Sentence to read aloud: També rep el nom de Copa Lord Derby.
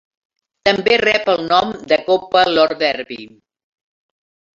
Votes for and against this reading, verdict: 2, 0, accepted